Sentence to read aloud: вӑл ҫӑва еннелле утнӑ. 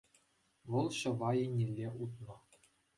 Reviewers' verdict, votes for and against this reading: accepted, 2, 0